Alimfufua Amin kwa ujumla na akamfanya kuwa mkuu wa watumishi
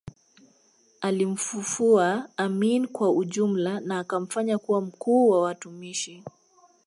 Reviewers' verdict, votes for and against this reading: accepted, 2, 0